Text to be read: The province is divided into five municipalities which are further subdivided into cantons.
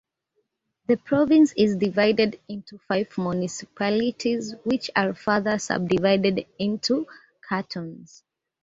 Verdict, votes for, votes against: rejected, 1, 2